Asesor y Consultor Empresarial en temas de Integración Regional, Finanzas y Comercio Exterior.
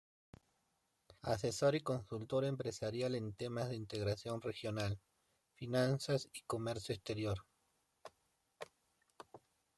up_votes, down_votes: 2, 0